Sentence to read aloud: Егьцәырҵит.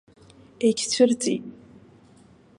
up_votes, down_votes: 2, 0